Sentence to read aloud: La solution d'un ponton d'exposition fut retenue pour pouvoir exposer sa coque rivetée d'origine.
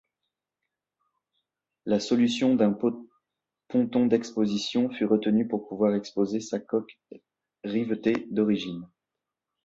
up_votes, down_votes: 0, 2